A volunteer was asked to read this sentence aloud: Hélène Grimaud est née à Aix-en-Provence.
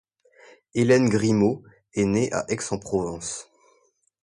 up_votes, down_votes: 2, 0